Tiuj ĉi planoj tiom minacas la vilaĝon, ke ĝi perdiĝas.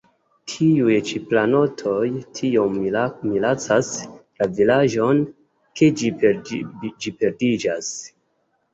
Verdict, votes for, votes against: accepted, 2, 0